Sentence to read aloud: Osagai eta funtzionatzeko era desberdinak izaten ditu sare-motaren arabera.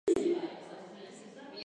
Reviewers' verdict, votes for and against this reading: rejected, 0, 4